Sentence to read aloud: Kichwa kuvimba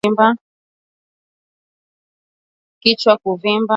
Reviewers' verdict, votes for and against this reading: rejected, 7, 10